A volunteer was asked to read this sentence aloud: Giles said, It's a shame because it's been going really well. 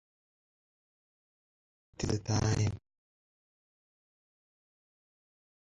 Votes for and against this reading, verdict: 0, 2, rejected